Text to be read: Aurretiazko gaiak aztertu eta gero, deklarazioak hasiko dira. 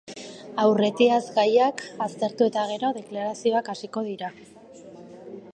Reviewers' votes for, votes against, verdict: 2, 0, accepted